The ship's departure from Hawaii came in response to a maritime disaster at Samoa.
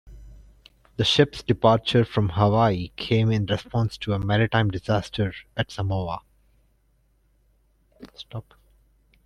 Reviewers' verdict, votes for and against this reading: accepted, 2, 0